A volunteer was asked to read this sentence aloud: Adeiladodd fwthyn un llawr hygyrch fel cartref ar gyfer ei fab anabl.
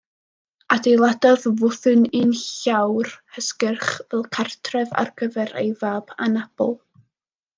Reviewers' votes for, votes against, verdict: 0, 2, rejected